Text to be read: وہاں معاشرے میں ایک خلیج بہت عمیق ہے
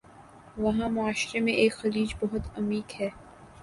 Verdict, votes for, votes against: accepted, 2, 1